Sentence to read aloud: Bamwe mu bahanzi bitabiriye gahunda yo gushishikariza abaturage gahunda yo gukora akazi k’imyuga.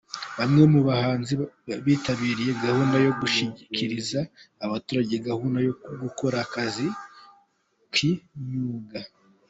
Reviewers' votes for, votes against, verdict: 0, 3, rejected